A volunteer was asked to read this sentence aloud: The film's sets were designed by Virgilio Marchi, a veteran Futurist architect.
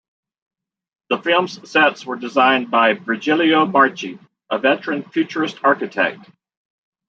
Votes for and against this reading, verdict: 1, 2, rejected